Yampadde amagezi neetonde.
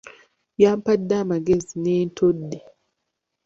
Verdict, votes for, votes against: rejected, 1, 2